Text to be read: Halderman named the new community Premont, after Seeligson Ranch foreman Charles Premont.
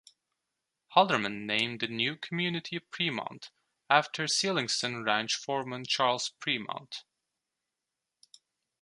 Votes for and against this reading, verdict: 2, 0, accepted